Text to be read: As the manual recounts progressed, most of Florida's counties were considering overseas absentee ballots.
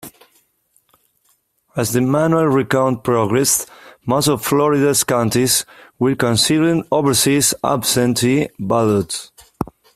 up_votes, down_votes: 1, 2